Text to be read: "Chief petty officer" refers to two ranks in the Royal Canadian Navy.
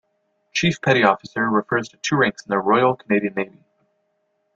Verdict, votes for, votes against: rejected, 1, 2